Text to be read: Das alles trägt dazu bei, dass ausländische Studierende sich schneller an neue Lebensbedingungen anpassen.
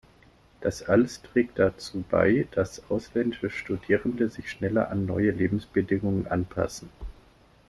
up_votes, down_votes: 2, 0